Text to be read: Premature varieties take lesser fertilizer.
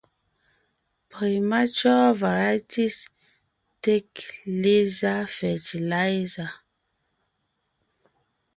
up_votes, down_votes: 2, 0